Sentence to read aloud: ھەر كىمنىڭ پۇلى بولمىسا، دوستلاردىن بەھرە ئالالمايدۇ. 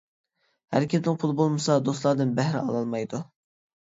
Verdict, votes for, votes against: rejected, 0, 2